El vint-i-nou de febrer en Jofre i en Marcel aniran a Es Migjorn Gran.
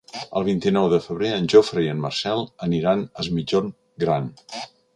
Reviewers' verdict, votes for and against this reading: accepted, 3, 0